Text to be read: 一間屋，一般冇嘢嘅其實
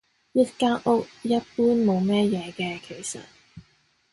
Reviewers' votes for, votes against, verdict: 1, 2, rejected